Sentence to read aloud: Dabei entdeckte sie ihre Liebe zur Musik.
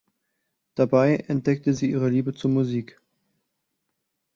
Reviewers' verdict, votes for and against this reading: accepted, 2, 0